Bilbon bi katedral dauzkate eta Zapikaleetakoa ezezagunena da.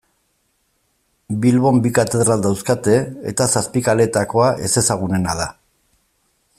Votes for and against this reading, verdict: 1, 2, rejected